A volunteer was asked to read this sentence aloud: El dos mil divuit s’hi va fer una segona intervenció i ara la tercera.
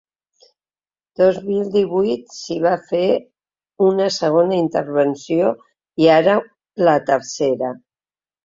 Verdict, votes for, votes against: rejected, 2, 3